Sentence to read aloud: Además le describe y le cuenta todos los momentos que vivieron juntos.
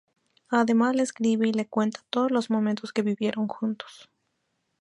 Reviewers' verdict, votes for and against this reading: rejected, 0, 2